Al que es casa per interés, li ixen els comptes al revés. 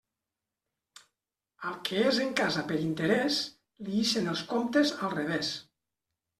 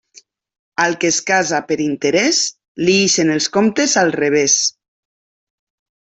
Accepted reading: second